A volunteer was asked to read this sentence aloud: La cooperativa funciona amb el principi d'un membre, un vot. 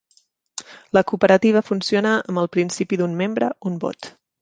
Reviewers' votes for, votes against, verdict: 3, 0, accepted